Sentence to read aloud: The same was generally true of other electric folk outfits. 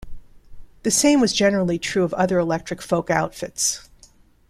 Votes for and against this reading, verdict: 2, 1, accepted